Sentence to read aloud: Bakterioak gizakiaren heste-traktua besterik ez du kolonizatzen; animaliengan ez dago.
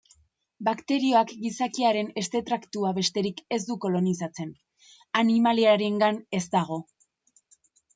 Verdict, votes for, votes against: rejected, 0, 2